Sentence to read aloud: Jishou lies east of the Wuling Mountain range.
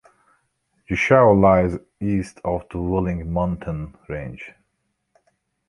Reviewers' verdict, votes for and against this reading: accepted, 2, 1